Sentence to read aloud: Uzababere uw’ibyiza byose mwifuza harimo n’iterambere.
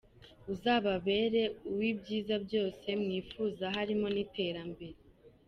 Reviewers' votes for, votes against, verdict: 2, 1, accepted